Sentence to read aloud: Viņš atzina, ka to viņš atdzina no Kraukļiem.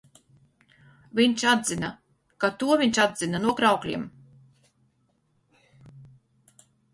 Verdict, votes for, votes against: accepted, 4, 0